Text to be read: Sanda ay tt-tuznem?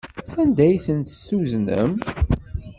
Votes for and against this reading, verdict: 1, 2, rejected